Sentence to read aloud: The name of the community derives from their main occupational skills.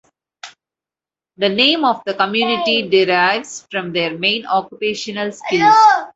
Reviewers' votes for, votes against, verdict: 1, 2, rejected